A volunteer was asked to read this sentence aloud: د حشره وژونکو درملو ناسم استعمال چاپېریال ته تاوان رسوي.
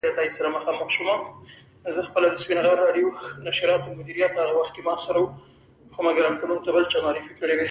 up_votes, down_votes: 1, 2